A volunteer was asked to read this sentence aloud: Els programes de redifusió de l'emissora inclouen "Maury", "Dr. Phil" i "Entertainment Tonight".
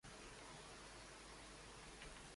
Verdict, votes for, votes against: rejected, 0, 2